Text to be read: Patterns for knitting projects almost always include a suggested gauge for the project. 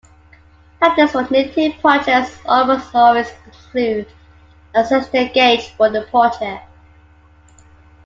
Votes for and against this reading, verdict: 2, 1, accepted